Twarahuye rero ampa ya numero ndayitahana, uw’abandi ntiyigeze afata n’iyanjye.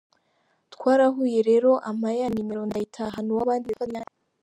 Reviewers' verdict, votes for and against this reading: rejected, 0, 3